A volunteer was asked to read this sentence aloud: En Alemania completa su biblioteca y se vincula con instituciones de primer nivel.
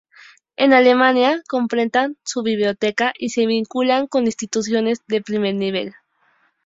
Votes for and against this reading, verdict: 4, 0, accepted